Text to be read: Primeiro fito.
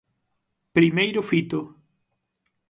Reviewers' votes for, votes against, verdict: 6, 0, accepted